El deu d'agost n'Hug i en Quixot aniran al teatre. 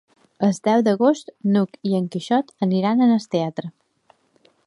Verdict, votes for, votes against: rejected, 1, 2